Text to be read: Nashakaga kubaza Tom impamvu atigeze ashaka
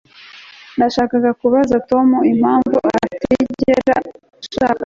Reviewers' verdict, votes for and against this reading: accepted, 2, 0